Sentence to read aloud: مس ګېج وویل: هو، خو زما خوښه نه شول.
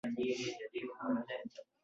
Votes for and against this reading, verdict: 0, 2, rejected